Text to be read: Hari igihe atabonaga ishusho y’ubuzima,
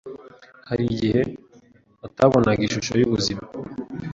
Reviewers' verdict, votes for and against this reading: accepted, 2, 0